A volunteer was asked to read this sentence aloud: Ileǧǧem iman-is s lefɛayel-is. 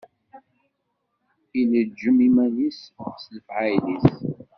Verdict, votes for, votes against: rejected, 1, 2